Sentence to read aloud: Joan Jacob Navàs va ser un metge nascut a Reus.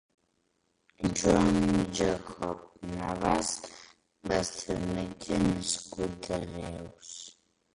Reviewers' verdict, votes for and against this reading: rejected, 0, 2